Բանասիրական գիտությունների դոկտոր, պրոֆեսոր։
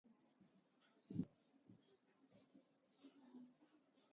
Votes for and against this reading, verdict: 0, 2, rejected